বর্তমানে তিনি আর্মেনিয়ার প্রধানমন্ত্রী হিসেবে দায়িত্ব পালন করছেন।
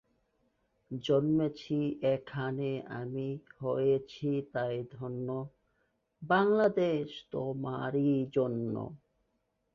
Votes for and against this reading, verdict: 0, 3, rejected